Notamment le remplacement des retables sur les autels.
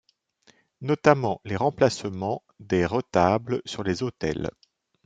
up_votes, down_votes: 0, 2